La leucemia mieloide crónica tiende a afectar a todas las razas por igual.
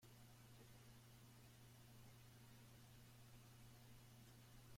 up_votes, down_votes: 0, 2